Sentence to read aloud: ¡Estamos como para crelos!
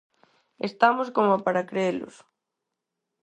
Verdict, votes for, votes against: accepted, 4, 2